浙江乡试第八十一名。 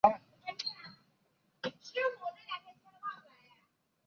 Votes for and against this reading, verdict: 2, 2, rejected